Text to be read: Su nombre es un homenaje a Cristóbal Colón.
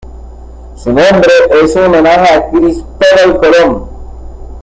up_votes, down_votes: 1, 2